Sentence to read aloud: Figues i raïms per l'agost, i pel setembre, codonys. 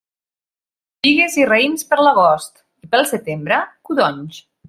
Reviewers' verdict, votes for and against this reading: rejected, 1, 2